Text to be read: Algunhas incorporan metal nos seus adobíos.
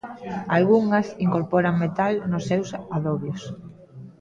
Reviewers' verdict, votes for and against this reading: rejected, 0, 2